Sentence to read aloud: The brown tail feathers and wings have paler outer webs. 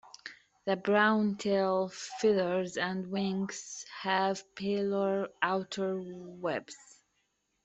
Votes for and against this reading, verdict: 2, 1, accepted